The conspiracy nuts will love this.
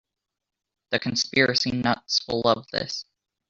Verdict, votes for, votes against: rejected, 1, 2